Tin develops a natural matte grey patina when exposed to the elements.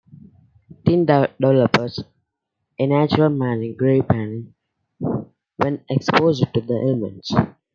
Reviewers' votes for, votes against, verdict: 1, 2, rejected